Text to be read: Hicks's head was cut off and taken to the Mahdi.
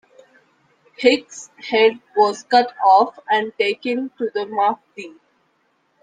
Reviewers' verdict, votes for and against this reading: rejected, 0, 2